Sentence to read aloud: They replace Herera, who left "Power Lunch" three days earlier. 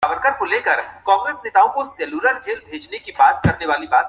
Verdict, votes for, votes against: rejected, 0, 2